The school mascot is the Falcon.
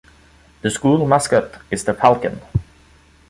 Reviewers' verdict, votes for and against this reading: accepted, 2, 0